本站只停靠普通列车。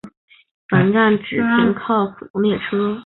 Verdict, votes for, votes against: accepted, 2, 0